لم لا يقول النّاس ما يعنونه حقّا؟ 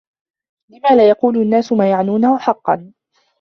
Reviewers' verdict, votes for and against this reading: accepted, 2, 0